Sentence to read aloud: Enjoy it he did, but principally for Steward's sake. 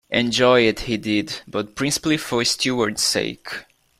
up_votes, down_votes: 2, 0